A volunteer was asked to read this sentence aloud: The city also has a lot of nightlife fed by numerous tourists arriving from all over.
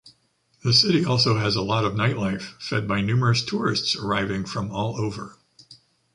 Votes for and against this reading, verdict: 2, 0, accepted